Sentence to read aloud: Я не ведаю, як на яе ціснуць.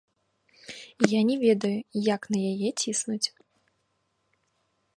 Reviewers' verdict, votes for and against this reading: rejected, 1, 2